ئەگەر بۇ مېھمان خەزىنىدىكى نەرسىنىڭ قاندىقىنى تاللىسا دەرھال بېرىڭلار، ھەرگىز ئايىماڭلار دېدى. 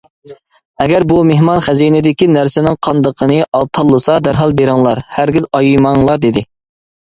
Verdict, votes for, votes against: rejected, 0, 2